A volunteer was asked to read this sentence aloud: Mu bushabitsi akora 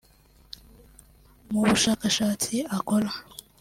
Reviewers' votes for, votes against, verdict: 1, 2, rejected